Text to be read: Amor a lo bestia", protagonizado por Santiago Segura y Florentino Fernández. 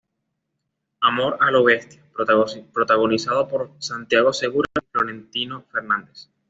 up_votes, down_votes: 2, 0